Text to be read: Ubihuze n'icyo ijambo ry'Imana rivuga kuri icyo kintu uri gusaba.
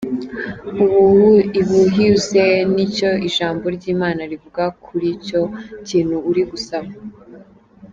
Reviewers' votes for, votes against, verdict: 0, 2, rejected